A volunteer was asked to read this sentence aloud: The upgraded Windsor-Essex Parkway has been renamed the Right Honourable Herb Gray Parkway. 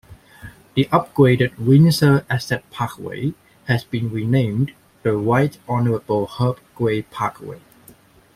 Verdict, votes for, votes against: accepted, 2, 1